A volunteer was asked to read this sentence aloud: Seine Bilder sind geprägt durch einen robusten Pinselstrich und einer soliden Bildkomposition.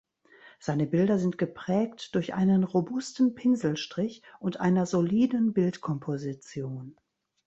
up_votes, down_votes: 2, 1